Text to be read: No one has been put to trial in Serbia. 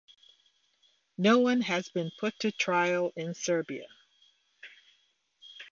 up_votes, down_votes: 2, 0